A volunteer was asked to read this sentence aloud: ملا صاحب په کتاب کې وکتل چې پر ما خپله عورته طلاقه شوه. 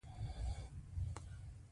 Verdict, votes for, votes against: accepted, 2, 1